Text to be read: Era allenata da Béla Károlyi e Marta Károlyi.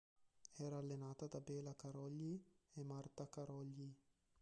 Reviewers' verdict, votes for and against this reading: rejected, 0, 2